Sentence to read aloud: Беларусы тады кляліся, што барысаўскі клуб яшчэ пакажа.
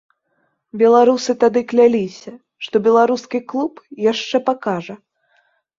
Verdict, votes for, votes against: rejected, 0, 2